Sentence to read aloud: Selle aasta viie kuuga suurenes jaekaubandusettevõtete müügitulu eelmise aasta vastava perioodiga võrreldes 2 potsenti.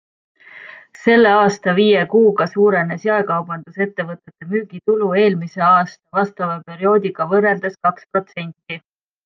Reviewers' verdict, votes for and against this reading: rejected, 0, 2